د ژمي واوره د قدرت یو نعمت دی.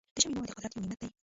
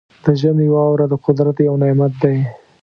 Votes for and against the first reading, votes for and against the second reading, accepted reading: 0, 2, 3, 0, second